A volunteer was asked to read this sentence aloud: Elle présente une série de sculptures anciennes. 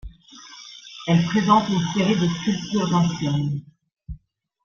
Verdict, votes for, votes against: rejected, 0, 2